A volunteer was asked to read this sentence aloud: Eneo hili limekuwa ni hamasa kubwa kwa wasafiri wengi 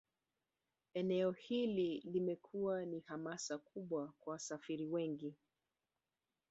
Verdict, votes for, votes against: rejected, 2, 4